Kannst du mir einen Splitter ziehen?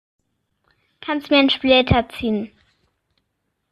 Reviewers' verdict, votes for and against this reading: rejected, 0, 2